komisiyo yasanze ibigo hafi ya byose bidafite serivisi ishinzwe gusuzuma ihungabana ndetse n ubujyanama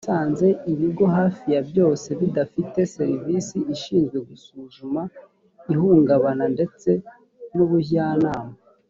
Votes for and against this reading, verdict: 0, 2, rejected